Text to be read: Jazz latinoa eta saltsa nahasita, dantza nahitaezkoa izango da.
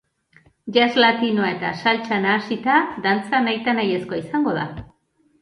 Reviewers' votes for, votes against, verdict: 1, 2, rejected